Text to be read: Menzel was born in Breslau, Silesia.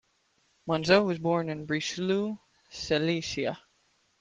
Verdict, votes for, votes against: accepted, 2, 0